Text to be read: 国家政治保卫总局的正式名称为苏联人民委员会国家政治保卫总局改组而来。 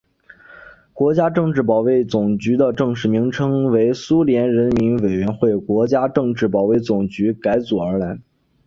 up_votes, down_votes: 3, 0